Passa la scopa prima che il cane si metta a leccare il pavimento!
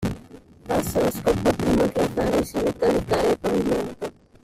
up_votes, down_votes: 0, 2